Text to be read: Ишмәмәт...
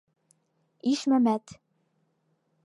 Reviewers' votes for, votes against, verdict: 2, 0, accepted